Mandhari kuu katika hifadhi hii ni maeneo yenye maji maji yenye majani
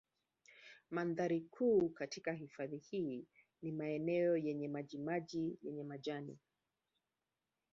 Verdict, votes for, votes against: rejected, 1, 2